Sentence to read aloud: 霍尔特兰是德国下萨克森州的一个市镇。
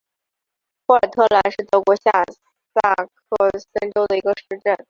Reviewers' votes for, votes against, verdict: 1, 2, rejected